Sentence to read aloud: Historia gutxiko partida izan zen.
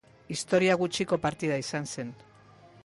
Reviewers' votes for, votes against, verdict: 2, 0, accepted